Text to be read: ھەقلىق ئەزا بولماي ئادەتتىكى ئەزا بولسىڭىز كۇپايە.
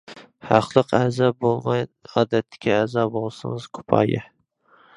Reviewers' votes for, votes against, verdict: 2, 0, accepted